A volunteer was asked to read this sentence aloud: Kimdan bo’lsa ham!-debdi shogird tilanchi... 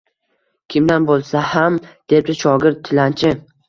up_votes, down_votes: 2, 0